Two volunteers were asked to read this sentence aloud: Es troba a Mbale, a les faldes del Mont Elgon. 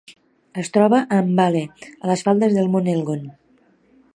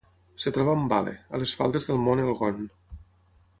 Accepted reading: first